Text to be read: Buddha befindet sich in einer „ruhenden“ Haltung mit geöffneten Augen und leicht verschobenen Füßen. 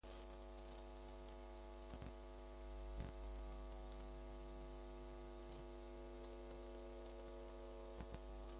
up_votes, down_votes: 0, 2